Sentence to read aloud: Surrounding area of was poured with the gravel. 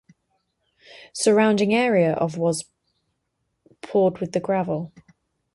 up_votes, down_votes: 0, 4